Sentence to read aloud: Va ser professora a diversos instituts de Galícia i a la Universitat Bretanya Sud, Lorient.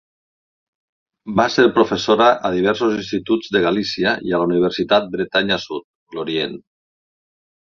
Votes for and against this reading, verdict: 2, 0, accepted